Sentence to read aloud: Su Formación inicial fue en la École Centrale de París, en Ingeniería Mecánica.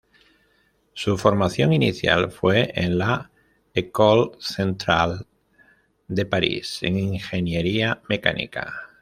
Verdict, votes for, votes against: accepted, 2, 0